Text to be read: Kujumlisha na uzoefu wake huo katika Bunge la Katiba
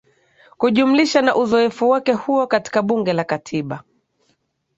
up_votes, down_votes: 2, 0